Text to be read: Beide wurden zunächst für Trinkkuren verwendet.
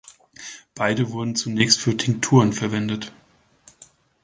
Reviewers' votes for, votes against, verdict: 0, 2, rejected